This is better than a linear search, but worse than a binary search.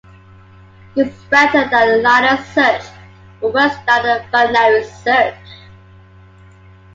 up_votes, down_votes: 2, 1